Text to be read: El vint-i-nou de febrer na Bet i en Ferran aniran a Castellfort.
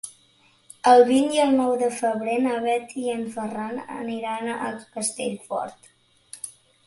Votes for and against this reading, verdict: 1, 2, rejected